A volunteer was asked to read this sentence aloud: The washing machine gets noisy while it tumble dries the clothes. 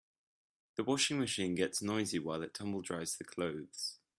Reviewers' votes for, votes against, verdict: 2, 0, accepted